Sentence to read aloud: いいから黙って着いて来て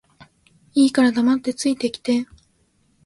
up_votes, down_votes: 2, 0